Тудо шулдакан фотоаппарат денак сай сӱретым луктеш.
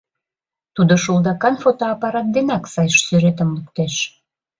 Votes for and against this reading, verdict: 1, 2, rejected